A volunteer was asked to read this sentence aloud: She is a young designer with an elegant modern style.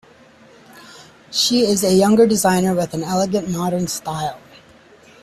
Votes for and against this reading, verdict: 1, 2, rejected